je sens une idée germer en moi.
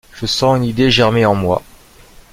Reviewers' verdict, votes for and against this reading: accepted, 2, 1